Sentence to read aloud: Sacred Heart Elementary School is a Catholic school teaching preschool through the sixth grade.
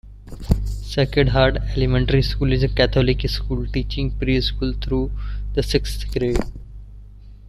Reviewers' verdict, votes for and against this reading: accepted, 2, 1